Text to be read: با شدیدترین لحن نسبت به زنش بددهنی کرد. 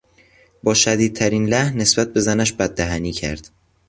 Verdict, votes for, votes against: accepted, 2, 0